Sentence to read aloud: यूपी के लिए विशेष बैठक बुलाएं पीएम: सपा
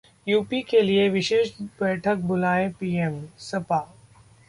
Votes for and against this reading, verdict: 2, 0, accepted